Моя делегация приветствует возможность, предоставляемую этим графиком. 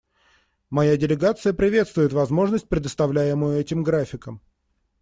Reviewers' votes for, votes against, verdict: 2, 0, accepted